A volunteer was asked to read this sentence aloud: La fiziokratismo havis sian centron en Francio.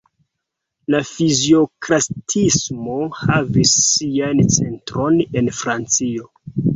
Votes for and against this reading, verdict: 0, 2, rejected